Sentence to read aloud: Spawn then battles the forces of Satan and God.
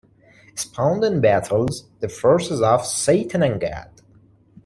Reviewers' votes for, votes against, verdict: 0, 2, rejected